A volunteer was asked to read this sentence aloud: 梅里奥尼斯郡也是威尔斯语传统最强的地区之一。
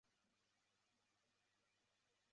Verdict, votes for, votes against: rejected, 0, 2